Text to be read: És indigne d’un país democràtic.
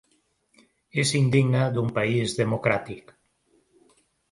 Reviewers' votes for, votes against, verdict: 3, 0, accepted